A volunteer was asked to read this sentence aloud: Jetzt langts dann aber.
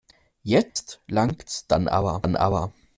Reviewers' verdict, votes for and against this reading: rejected, 0, 2